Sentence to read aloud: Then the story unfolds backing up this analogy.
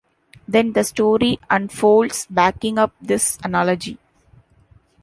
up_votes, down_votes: 2, 0